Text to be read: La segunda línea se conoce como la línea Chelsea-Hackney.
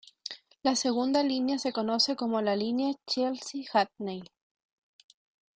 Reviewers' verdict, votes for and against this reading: accepted, 2, 0